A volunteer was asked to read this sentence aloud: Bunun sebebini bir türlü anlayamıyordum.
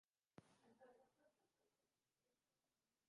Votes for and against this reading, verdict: 0, 2, rejected